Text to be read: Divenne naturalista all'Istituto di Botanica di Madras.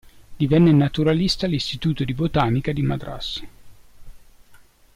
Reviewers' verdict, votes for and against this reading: accepted, 2, 0